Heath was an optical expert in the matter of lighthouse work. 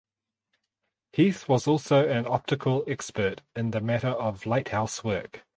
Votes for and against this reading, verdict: 2, 4, rejected